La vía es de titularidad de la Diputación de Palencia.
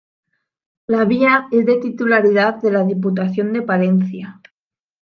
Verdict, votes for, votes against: accepted, 2, 0